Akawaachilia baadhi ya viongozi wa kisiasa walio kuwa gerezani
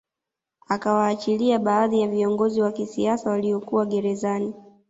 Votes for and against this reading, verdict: 2, 0, accepted